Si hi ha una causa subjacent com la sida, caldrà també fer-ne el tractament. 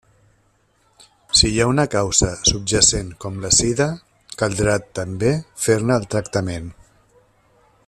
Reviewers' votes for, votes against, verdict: 3, 0, accepted